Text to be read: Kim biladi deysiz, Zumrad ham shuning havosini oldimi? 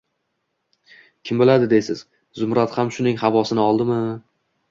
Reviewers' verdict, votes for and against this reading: accepted, 2, 0